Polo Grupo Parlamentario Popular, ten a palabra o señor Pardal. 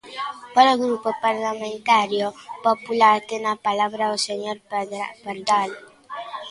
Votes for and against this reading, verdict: 0, 2, rejected